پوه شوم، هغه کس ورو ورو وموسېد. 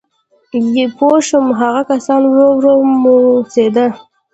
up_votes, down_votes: 1, 2